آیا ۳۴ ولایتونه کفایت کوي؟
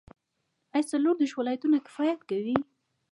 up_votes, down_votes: 0, 2